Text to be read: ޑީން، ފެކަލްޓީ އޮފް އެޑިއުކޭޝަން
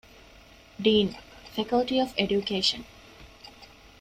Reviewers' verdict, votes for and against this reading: accepted, 2, 0